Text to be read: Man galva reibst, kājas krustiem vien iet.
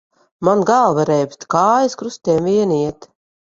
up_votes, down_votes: 2, 1